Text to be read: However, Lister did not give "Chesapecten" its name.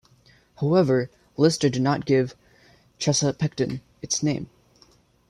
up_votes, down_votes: 2, 0